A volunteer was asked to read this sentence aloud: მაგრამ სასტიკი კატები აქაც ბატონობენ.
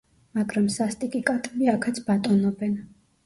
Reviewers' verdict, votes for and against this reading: rejected, 0, 2